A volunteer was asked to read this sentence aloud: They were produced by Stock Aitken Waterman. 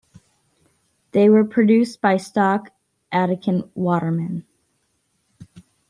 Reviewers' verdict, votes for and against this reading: rejected, 0, 2